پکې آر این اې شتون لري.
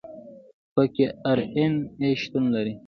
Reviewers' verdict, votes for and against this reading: rejected, 1, 2